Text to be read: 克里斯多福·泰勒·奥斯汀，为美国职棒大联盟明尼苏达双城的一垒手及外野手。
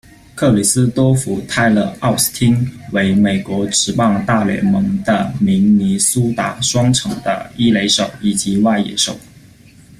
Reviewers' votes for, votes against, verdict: 1, 2, rejected